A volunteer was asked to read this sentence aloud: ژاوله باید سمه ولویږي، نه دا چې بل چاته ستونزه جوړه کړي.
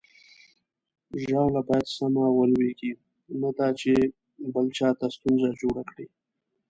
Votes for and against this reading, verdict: 2, 0, accepted